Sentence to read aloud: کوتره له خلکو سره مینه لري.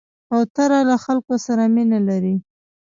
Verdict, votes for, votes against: accepted, 2, 1